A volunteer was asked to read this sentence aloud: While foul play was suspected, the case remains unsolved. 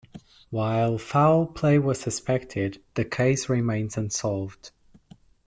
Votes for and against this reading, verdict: 2, 0, accepted